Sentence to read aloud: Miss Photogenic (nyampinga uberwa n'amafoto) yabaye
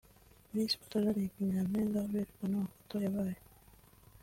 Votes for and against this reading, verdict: 2, 0, accepted